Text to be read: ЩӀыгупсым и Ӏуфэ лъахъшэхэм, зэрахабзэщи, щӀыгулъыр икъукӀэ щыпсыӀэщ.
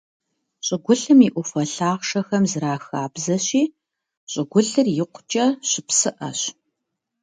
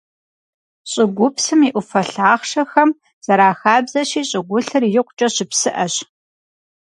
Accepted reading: second